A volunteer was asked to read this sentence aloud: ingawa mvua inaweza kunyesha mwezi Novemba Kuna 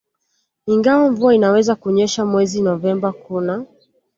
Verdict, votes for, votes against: accepted, 2, 0